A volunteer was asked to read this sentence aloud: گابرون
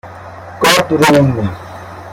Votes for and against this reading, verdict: 2, 1, accepted